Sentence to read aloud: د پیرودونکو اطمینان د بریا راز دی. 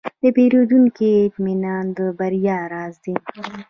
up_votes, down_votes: 2, 1